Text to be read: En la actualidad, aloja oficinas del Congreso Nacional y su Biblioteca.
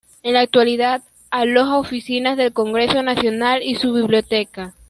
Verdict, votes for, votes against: accepted, 2, 1